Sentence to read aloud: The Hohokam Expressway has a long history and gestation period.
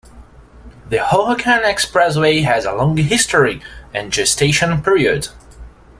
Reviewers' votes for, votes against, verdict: 2, 0, accepted